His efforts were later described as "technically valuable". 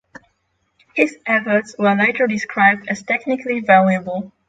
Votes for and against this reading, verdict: 3, 3, rejected